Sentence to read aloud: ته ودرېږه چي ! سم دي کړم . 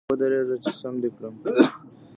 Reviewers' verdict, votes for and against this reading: rejected, 1, 2